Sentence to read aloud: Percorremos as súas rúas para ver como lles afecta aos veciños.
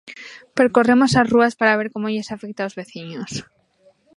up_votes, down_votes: 1, 2